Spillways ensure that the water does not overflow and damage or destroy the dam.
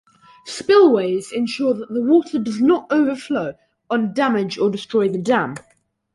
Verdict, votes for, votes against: accepted, 2, 0